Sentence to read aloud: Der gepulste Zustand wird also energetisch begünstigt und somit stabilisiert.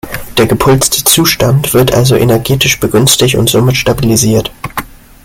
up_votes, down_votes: 2, 0